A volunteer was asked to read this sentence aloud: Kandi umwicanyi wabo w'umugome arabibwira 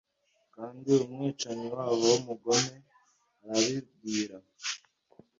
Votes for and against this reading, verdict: 2, 0, accepted